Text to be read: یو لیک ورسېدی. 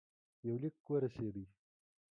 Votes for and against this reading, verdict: 2, 0, accepted